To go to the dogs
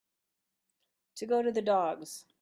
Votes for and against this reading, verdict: 2, 0, accepted